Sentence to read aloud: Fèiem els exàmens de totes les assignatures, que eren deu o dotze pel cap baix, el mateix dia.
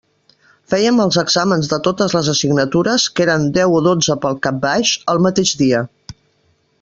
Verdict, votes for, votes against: accepted, 3, 0